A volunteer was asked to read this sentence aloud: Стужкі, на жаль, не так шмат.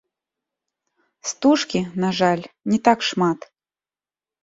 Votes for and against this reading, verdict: 2, 0, accepted